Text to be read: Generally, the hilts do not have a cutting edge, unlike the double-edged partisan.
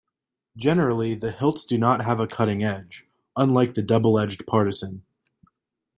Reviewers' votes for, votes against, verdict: 2, 0, accepted